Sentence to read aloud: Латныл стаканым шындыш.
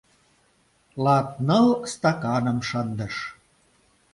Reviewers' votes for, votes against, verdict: 2, 0, accepted